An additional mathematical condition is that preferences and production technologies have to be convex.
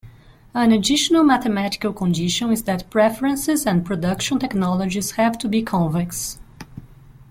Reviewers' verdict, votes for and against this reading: accepted, 2, 0